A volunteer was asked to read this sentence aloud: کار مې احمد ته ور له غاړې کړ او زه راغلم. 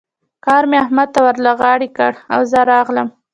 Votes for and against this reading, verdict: 0, 2, rejected